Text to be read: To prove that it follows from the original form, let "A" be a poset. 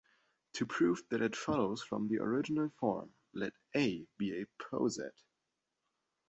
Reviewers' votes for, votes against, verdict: 2, 0, accepted